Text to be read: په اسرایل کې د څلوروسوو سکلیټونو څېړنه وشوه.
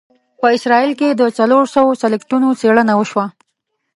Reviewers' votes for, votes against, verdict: 1, 2, rejected